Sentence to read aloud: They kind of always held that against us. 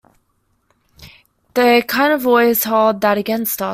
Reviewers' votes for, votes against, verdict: 0, 2, rejected